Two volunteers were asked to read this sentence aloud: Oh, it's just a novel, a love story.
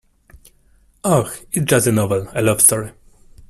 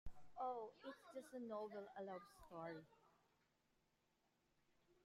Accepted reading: first